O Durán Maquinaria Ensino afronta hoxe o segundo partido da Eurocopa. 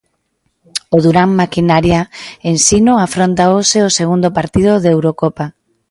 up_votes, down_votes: 2, 0